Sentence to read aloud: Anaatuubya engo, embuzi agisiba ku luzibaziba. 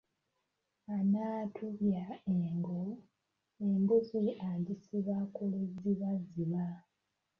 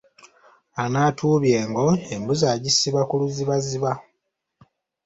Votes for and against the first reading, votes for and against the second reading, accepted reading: 0, 2, 2, 0, second